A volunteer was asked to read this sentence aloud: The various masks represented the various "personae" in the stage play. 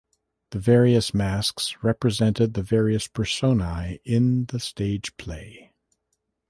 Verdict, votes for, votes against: accepted, 4, 0